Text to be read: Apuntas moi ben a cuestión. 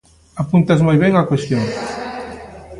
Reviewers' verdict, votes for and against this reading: rejected, 1, 2